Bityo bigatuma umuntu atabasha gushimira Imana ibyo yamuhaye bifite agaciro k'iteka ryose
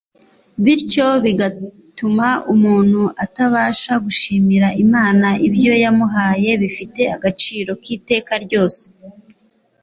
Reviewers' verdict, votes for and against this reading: accepted, 2, 0